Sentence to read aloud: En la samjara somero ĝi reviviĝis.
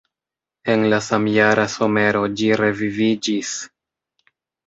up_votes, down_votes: 2, 0